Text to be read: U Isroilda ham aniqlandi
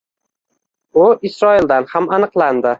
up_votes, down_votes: 1, 2